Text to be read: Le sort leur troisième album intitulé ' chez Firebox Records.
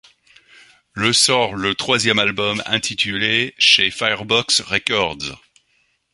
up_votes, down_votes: 1, 2